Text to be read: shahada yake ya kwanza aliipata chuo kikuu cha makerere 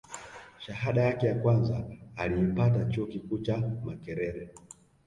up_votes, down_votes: 2, 1